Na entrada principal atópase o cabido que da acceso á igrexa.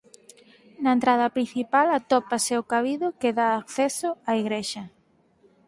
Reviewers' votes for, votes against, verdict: 4, 0, accepted